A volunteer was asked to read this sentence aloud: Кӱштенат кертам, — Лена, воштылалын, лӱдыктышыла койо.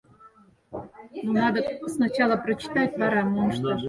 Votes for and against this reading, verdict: 0, 6, rejected